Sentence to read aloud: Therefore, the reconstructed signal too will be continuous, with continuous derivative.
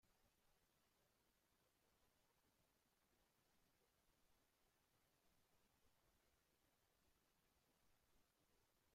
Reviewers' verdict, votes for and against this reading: rejected, 0, 3